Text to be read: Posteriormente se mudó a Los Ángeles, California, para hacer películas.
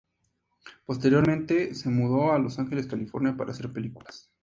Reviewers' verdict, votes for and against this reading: accepted, 4, 0